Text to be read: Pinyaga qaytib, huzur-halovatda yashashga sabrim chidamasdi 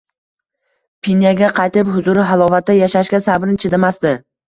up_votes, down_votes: 2, 0